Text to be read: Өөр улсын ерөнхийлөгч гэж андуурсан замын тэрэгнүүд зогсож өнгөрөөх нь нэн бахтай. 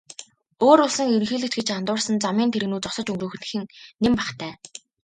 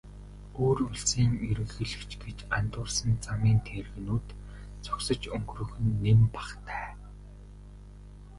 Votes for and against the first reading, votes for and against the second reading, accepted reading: 2, 1, 2, 2, first